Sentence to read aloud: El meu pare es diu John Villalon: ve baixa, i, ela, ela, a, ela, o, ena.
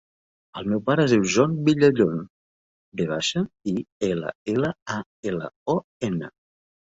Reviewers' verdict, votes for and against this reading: rejected, 0, 2